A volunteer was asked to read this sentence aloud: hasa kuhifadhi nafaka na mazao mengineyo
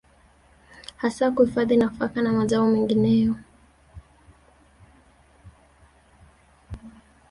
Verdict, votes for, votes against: rejected, 1, 2